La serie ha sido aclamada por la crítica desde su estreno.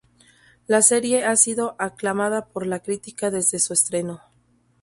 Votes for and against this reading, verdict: 2, 0, accepted